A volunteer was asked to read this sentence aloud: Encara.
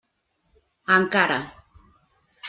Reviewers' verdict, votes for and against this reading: accepted, 3, 1